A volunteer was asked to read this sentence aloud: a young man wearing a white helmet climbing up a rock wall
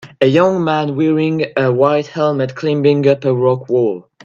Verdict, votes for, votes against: accepted, 2, 0